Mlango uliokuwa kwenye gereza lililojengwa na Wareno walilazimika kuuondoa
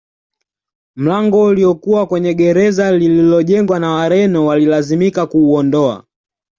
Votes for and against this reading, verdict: 2, 0, accepted